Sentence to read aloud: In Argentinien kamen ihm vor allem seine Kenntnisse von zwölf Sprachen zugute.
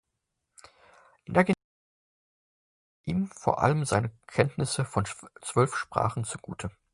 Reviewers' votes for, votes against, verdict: 0, 2, rejected